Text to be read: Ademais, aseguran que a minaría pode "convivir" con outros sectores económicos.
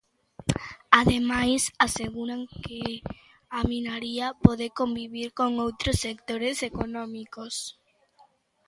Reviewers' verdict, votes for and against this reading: accepted, 2, 0